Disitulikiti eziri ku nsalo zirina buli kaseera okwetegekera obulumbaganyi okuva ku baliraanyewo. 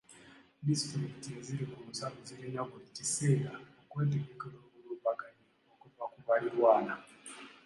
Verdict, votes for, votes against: accepted, 2, 0